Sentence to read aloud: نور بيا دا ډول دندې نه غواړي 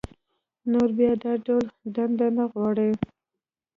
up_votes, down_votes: 0, 2